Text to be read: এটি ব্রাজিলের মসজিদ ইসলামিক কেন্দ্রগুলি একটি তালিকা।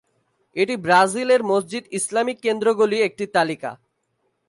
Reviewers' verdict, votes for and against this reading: accepted, 2, 0